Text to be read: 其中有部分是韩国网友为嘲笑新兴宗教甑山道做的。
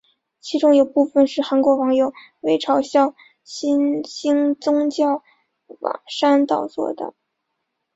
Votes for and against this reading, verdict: 1, 3, rejected